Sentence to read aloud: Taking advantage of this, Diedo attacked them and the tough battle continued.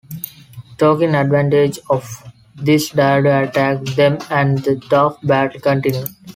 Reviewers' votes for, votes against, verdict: 0, 2, rejected